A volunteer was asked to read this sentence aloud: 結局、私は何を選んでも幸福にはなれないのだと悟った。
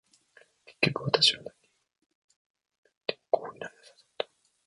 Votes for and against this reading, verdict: 1, 2, rejected